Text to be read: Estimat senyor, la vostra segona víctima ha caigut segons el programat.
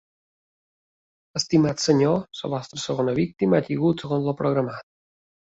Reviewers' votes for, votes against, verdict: 1, 2, rejected